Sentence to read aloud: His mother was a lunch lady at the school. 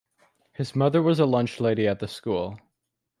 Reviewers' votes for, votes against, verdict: 2, 0, accepted